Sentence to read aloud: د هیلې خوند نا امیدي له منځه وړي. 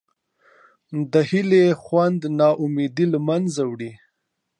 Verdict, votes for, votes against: rejected, 0, 2